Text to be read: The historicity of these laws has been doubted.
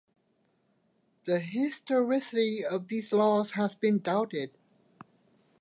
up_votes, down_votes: 2, 0